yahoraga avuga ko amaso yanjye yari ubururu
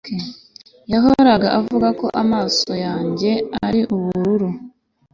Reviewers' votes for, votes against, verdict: 2, 0, accepted